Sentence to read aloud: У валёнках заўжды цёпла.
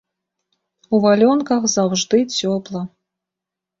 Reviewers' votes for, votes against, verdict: 2, 0, accepted